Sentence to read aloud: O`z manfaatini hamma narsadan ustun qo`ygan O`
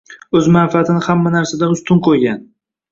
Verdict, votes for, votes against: accepted, 2, 0